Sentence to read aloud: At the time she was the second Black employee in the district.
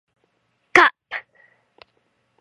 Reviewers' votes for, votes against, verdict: 1, 2, rejected